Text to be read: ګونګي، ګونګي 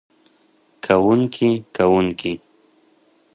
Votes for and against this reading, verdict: 0, 2, rejected